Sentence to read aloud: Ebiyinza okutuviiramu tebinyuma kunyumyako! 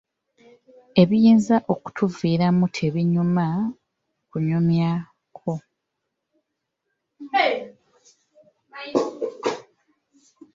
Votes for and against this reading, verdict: 2, 1, accepted